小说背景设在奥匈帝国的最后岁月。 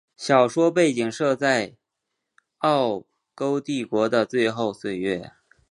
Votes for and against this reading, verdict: 2, 0, accepted